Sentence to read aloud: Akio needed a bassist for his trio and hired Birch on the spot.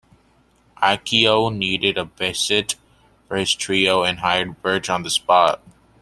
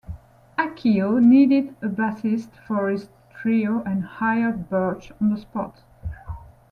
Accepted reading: second